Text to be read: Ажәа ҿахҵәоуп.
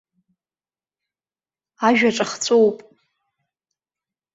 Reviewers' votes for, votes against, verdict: 3, 0, accepted